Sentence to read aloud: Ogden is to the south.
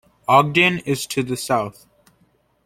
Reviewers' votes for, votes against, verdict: 2, 0, accepted